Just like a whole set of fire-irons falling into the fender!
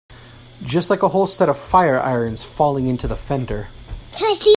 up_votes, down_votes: 0, 2